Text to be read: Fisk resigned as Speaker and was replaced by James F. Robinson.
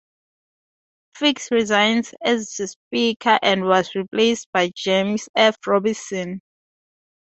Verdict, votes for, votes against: rejected, 0, 2